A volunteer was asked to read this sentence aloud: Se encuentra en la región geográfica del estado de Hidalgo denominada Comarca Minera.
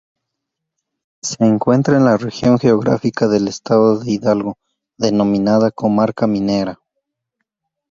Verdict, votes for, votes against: rejected, 2, 2